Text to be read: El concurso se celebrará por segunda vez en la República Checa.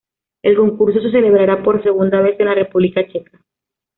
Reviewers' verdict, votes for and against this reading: accepted, 2, 0